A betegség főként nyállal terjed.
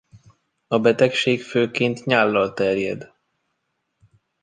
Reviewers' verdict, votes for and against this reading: accepted, 2, 0